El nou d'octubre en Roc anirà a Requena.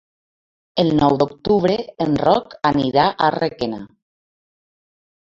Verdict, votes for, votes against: accepted, 2, 0